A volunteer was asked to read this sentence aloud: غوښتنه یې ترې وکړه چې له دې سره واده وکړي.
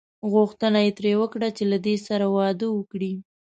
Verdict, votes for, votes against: accepted, 2, 0